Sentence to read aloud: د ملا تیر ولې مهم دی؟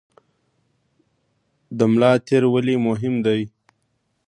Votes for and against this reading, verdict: 2, 0, accepted